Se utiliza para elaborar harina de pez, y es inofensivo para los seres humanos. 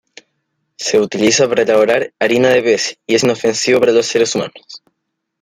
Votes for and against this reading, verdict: 2, 1, accepted